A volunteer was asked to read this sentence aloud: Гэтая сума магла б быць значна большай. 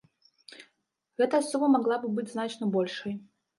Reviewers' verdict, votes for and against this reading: accepted, 2, 0